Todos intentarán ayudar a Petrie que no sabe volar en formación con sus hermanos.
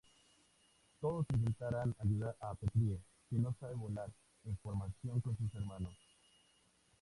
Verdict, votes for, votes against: accepted, 2, 0